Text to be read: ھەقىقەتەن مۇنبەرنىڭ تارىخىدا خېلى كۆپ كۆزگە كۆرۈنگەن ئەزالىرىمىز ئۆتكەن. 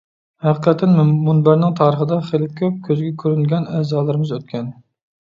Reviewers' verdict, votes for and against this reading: rejected, 1, 2